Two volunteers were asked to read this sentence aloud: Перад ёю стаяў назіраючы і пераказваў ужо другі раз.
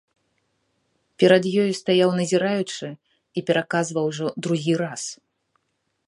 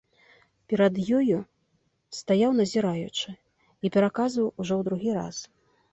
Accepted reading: first